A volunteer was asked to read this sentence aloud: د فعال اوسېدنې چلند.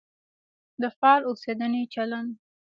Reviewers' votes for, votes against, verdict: 2, 1, accepted